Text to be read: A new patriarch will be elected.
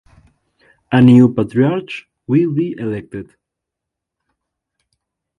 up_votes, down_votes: 2, 0